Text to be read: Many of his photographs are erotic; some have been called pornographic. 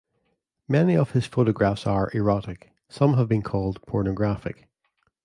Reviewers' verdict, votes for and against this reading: accepted, 2, 1